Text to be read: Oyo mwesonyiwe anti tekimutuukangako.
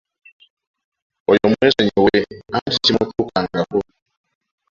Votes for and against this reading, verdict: 0, 2, rejected